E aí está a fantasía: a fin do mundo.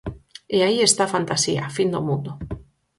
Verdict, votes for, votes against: accepted, 4, 0